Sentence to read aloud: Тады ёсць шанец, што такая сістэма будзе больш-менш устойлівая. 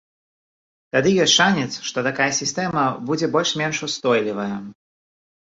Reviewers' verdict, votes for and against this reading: accepted, 2, 0